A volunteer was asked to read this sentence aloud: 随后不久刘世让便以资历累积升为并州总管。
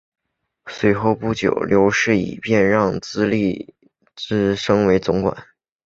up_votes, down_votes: 0, 2